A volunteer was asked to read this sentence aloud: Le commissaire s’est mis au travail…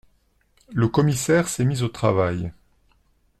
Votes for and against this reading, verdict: 2, 0, accepted